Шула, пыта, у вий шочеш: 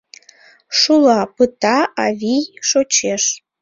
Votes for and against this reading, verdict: 1, 2, rejected